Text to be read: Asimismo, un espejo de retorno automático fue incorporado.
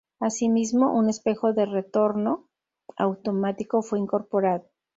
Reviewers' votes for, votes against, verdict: 2, 0, accepted